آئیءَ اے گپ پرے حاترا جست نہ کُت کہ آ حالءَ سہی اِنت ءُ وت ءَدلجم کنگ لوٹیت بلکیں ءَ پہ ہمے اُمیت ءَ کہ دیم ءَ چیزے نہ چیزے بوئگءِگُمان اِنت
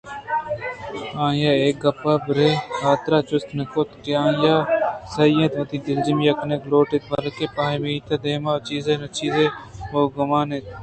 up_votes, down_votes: 0, 2